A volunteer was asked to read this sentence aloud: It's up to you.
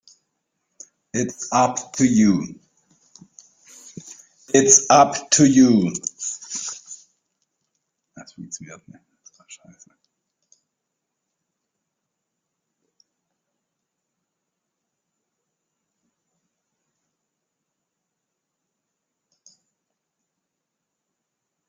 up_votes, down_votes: 0, 3